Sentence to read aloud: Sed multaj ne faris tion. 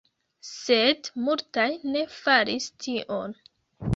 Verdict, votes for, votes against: accepted, 3, 0